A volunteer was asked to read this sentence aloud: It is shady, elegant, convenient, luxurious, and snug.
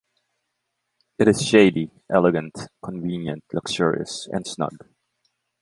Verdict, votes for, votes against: accepted, 2, 0